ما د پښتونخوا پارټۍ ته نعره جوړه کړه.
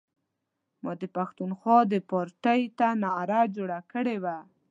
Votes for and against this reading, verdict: 1, 2, rejected